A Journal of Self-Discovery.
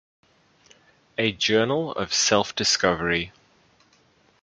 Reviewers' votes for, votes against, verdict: 2, 0, accepted